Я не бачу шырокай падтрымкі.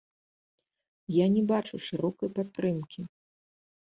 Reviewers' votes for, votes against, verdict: 1, 2, rejected